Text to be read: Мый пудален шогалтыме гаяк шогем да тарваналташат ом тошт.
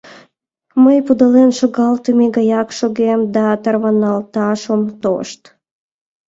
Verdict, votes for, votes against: rejected, 1, 2